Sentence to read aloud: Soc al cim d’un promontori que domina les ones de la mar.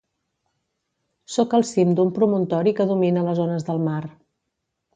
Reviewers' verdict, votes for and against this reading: rejected, 0, 2